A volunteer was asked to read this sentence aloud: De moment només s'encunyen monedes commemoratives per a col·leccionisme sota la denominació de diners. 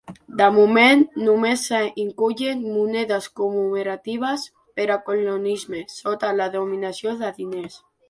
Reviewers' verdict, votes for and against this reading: rejected, 0, 3